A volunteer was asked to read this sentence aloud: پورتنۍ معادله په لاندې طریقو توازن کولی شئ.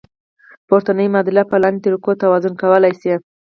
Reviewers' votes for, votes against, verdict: 4, 0, accepted